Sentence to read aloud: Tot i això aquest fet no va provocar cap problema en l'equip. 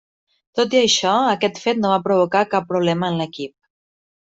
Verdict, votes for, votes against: accepted, 3, 0